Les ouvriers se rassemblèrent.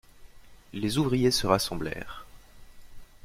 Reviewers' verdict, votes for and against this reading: accepted, 2, 0